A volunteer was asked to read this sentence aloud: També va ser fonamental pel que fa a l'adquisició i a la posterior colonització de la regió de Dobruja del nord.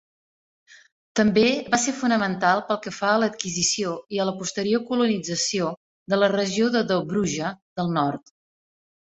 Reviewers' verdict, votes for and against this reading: accepted, 2, 0